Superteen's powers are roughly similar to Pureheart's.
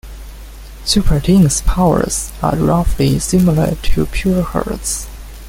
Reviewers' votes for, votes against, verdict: 2, 0, accepted